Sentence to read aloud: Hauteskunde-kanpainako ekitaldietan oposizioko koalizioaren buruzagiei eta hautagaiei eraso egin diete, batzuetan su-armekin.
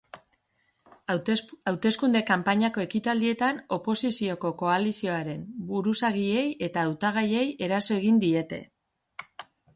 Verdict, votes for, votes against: rejected, 0, 2